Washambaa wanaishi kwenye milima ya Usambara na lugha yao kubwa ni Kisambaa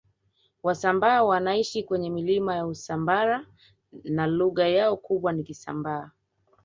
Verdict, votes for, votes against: rejected, 0, 2